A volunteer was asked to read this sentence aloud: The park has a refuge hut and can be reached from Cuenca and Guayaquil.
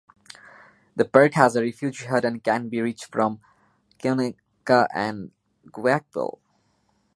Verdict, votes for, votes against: rejected, 1, 2